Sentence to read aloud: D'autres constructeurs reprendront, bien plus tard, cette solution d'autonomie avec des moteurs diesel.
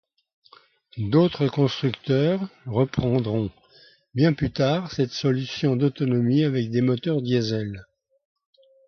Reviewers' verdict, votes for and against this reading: accepted, 2, 0